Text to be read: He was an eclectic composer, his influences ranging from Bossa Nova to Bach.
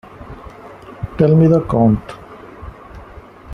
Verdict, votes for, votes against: rejected, 0, 2